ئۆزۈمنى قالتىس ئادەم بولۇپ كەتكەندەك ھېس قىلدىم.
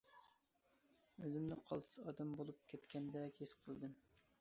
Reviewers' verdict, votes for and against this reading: accepted, 2, 0